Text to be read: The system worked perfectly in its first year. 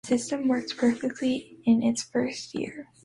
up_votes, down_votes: 1, 2